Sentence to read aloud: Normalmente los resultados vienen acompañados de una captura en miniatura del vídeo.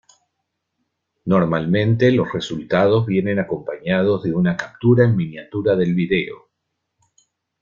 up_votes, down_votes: 0, 2